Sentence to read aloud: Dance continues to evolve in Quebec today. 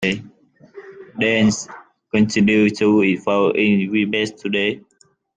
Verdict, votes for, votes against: rejected, 1, 2